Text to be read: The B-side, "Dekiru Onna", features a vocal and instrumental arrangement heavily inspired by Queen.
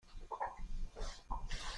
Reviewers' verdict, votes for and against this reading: rejected, 0, 2